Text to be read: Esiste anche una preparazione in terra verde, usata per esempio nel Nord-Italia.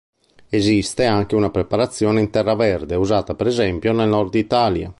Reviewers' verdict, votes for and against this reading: accepted, 3, 0